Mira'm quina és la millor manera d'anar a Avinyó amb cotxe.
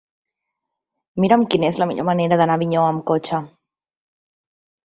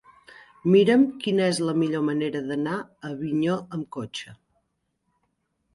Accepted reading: first